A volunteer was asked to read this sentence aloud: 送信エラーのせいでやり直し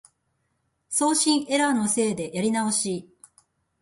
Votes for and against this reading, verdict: 2, 0, accepted